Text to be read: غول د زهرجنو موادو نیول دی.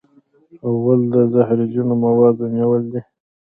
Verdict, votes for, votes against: accepted, 2, 0